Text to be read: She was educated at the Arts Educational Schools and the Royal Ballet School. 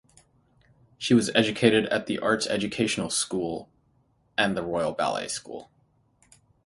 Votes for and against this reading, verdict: 0, 3, rejected